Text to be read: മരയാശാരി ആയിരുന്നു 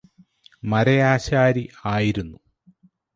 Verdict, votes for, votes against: accepted, 4, 0